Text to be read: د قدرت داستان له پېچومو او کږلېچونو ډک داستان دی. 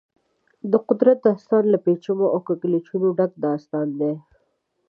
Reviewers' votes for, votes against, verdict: 2, 0, accepted